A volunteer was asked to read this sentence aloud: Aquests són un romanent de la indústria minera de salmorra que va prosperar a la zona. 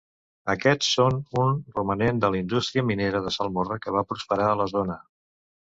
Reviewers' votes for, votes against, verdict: 2, 0, accepted